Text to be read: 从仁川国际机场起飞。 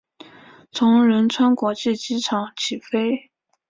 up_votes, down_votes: 3, 0